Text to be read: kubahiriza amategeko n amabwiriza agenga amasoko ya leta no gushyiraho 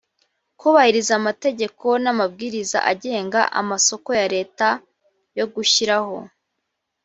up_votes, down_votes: 0, 2